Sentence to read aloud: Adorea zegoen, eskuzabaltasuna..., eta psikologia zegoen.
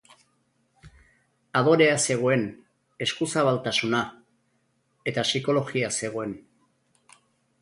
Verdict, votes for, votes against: accepted, 2, 0